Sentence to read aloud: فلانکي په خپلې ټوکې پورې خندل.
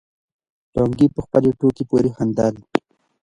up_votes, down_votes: 0, 2